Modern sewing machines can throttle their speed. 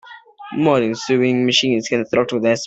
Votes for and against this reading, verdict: 1, 2, rejected